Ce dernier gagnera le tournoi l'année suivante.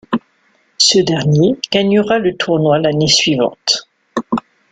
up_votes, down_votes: 2, 0